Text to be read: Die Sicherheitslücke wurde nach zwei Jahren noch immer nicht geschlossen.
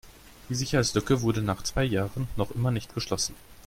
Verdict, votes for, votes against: accepted, 2, 0